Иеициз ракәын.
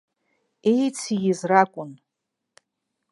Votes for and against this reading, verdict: 2, 0, accepted